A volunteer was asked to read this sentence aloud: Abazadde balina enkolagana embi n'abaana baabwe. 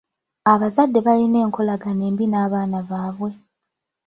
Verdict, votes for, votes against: rejected, 0, 2